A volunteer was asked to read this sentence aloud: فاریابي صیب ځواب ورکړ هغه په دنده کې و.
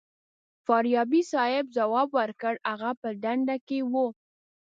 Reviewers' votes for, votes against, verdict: 2, 0, accepted